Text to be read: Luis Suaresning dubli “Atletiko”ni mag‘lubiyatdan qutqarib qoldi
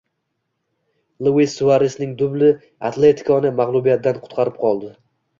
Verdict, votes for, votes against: accepted, 2, 0